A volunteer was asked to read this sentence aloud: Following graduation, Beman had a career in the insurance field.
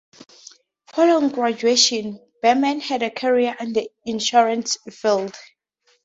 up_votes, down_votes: 4, 0